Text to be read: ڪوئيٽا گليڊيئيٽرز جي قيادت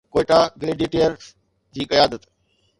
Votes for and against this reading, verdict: 2, 0, accepted